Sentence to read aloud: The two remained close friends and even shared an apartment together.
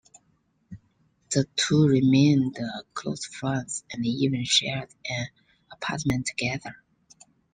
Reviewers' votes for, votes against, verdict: 2, 0, accepted